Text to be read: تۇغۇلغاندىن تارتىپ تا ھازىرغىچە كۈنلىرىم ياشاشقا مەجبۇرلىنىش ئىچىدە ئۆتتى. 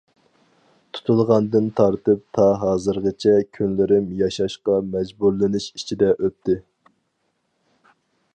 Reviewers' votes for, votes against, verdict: 2, 4, rejected